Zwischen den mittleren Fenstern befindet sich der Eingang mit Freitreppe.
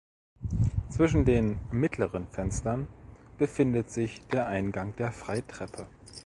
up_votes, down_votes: 0, 2